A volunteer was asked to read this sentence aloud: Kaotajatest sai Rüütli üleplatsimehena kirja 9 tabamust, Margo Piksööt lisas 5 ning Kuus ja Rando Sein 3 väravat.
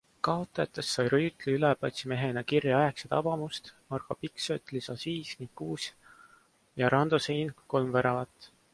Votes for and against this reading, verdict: 0, 2, rejected